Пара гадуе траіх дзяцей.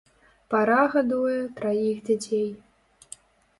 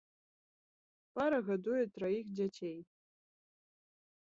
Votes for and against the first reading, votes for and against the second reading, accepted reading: 1, 2, 2, 0, second